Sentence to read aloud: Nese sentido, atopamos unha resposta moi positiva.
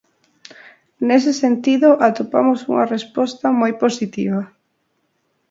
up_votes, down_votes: 2, 0